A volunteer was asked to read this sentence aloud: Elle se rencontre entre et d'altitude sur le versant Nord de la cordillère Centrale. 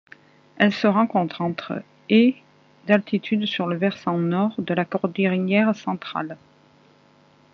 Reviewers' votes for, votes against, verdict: 1, 2, rejected